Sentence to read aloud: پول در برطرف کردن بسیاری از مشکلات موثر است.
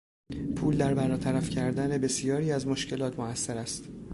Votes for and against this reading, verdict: 0, 2, rejected